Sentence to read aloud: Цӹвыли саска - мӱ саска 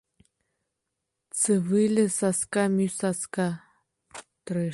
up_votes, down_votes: 0, 2